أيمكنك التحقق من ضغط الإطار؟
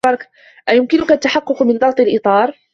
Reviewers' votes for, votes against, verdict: 2, 0, accepted